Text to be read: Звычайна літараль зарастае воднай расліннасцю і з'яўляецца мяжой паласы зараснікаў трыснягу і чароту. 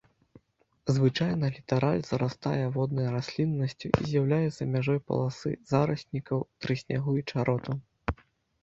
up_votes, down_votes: 2, 0